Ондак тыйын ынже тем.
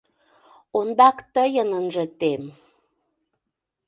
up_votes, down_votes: 2, 0